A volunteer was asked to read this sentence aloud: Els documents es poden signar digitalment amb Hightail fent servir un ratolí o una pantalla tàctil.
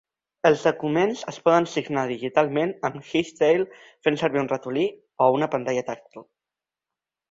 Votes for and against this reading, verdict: 1, 2, rejected